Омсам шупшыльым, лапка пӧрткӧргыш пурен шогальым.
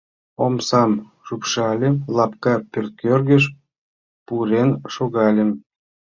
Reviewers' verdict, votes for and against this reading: accepted, 2, 1